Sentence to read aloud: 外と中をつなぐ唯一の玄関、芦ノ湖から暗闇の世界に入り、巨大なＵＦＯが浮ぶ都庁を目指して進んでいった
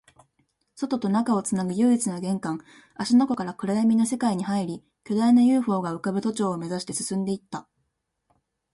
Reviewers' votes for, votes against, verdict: 2, 0, accepted